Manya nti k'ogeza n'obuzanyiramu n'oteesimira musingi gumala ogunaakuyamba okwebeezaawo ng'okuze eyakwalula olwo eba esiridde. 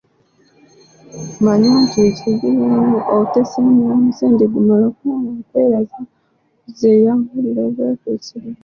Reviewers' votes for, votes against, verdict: 0, 2, rejected